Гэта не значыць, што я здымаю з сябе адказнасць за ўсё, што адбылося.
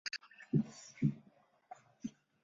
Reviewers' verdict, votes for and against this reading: rejected, 0, 2